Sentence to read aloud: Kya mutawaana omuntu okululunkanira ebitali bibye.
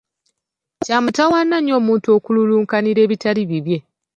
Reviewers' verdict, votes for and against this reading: rejected, 0, 2